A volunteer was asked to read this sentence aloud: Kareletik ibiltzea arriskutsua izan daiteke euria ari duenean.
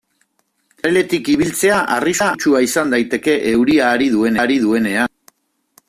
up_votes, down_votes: 0, 2